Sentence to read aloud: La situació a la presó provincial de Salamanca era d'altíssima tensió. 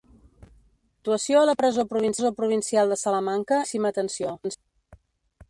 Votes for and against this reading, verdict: 0, 2, rejected